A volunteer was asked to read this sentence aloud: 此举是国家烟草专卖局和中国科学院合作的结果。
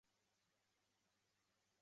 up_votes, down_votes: 0, 4